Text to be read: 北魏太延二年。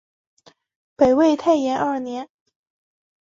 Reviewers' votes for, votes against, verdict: 7, 1, accepted